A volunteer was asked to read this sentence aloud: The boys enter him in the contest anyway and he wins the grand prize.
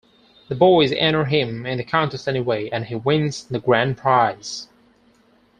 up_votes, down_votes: 4, 0